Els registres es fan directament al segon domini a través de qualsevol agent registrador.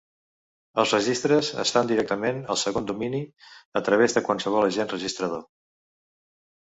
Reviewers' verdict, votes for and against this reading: rejected, 1, 2